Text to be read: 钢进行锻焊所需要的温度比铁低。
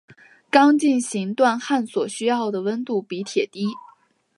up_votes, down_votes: 4, 0